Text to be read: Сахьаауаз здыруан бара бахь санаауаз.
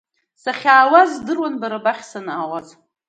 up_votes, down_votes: 2, 0